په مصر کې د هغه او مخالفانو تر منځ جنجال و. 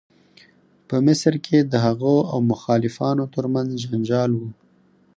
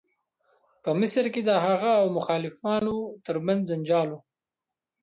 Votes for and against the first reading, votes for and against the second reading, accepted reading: 4, 0, 1, 2, first